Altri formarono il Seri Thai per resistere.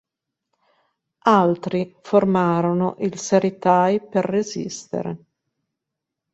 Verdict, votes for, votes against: accepted, 2, 0